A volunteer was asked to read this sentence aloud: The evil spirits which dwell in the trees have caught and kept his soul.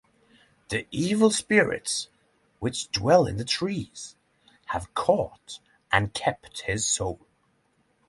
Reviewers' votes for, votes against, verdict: 6, 0, accepted